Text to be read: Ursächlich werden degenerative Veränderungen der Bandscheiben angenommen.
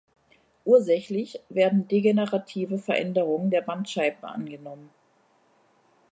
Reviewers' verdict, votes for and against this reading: accepted, 3, 0